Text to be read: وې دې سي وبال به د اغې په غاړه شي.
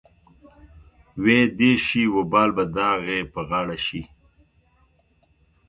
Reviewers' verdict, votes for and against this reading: rejected, 0, 2